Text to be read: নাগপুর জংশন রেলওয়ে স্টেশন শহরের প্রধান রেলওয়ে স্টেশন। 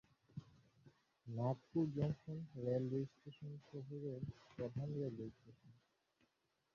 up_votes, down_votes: 0, 3